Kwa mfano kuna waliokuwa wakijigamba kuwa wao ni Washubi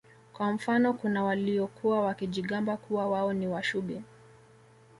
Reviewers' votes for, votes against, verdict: 2, 0, accepted